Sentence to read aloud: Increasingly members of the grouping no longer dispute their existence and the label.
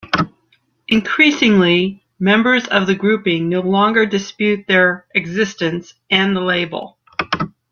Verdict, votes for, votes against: accepted, 2, 0